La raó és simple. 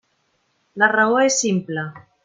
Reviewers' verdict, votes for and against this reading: accepted, 3, 0